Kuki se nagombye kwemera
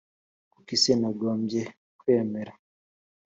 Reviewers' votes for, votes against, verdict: 3, 0, accepted